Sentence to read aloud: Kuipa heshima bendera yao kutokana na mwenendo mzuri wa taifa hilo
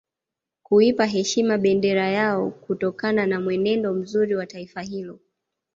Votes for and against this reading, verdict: 2, 0, accepted